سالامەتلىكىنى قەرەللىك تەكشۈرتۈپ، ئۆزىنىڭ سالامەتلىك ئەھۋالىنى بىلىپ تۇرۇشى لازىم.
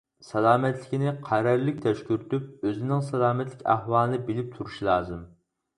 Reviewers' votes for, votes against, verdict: 2, 4, rejected